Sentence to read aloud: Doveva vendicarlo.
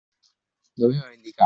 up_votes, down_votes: 0, 2